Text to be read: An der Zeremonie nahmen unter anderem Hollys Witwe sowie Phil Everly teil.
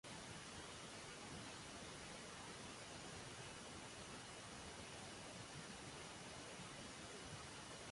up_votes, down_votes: 0, 2